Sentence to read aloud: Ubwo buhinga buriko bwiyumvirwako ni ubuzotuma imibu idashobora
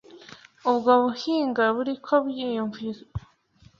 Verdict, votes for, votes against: rejected, 3, 4